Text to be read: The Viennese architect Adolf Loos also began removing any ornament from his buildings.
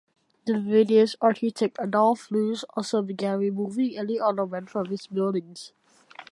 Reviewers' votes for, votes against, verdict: 0, 2, rejected